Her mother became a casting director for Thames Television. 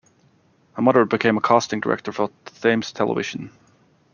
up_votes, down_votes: 0, 2